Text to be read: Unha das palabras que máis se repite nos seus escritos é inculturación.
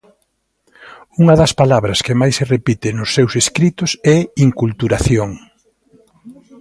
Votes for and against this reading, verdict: 2, 0, accepted